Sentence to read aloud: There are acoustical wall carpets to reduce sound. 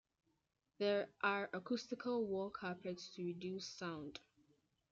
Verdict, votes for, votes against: rejected, 1, 2